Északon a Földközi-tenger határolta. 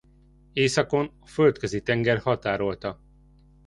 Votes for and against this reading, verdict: 1, 2, rejected